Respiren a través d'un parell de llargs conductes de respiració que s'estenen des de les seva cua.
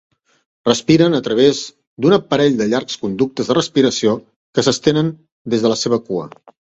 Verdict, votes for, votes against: rejected, 0, 2